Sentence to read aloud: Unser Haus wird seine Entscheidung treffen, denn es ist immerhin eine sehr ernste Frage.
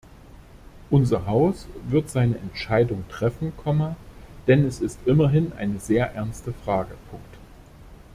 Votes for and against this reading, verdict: 0, 2, rejected